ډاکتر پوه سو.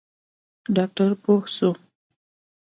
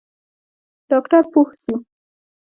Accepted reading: first